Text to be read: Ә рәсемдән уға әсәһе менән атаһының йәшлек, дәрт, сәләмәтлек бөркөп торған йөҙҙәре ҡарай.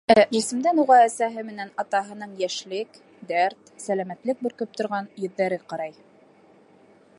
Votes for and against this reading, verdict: 1, 2, rejected